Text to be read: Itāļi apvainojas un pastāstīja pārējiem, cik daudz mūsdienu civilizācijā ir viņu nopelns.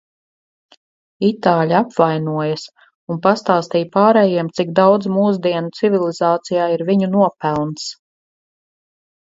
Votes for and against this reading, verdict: 4, 0, accepted